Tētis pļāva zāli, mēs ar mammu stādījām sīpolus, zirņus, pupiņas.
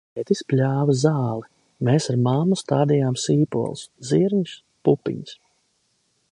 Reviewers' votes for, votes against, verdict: 2, 0, accepted